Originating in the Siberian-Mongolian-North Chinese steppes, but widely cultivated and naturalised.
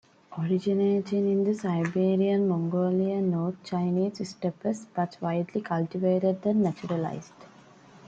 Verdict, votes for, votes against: rejected, 1, 2